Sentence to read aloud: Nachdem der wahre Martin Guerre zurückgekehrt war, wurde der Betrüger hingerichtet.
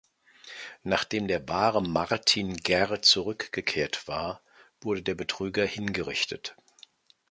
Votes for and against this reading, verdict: 4, 0, accepted